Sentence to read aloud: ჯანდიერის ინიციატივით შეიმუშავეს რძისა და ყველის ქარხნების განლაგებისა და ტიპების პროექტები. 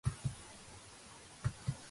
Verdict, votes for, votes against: rejected, 0, 2